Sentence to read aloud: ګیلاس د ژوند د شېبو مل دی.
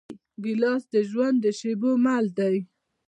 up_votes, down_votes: 2, 1